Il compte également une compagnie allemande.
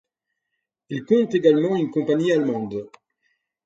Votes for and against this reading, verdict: 4, 0, accepted